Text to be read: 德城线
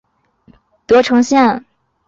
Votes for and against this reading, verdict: 4, 0, accepted